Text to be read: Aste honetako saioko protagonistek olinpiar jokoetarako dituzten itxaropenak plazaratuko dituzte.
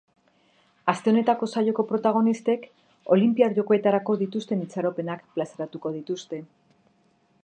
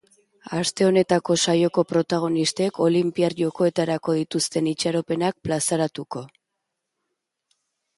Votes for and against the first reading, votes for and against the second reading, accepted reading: 4, 0, 0, 2, first